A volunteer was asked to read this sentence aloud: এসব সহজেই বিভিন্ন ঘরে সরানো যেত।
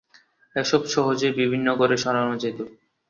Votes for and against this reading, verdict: 2, 0, accepted